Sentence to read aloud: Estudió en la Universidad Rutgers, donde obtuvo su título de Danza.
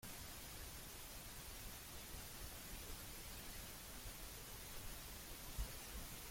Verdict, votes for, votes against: rejected, 0, 2